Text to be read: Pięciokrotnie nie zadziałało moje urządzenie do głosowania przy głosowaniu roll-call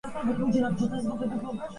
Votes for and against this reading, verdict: 0, 2, rejected